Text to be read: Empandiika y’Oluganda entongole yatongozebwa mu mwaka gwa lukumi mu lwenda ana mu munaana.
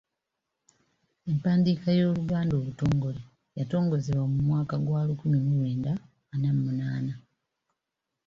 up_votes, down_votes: 1, 4